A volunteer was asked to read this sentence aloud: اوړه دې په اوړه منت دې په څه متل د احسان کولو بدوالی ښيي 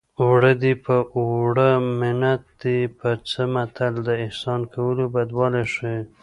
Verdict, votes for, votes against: rejected, 1, 2